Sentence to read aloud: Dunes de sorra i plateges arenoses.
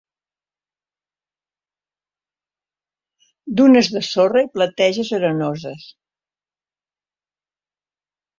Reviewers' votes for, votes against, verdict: 4, 0, accepted